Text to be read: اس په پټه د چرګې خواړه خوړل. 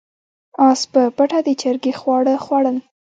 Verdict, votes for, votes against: rejected, 1, 2